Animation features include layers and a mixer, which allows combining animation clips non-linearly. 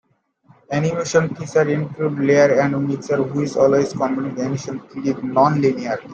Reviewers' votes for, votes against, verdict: 2, 1, accepted